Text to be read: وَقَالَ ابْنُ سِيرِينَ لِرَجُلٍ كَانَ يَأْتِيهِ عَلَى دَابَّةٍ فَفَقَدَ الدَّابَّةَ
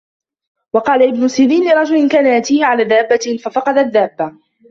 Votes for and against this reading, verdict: 0, 2, rejected